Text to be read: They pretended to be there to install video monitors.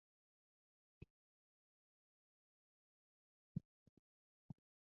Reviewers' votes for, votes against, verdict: 0, 4, rejected